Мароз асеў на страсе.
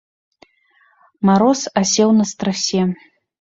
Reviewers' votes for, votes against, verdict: 2, 0, accepted